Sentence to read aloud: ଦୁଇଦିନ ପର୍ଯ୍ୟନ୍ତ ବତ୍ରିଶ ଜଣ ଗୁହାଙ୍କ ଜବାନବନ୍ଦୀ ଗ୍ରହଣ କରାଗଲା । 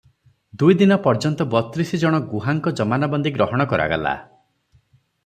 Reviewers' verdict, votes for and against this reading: rejected, 0, 3